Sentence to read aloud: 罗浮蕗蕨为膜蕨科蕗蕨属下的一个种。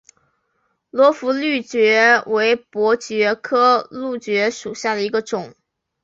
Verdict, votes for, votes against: accepted, 2, 1